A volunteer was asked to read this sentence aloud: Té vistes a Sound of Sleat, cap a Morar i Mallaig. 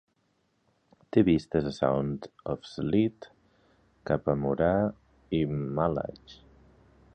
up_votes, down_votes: 3, 2